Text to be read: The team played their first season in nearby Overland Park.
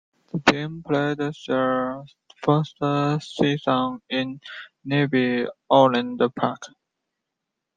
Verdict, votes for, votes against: accepted, 2, 0